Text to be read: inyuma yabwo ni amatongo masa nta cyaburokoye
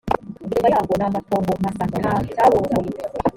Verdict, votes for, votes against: rejected, 1, 2